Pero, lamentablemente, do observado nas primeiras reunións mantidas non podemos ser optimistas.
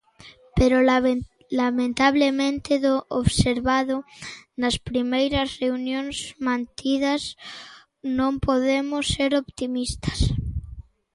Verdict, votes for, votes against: rejected, 0, 2